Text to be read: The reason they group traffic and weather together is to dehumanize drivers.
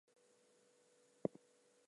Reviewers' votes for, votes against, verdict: 0, 2, rejected